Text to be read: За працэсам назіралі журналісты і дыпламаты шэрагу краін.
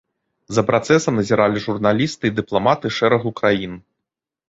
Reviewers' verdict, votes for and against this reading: accepted, 2, 1